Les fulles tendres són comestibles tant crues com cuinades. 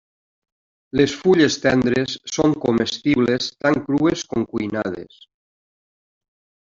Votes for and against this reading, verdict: 1, 2, rejected